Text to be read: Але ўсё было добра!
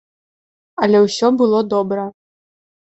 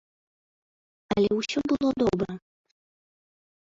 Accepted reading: first